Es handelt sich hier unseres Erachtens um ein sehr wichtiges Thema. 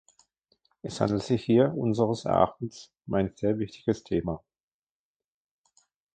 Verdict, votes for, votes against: accepted, 2, 1